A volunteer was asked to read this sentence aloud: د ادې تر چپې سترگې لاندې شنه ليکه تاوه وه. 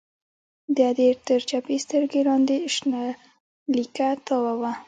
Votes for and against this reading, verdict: 0, 2, rejected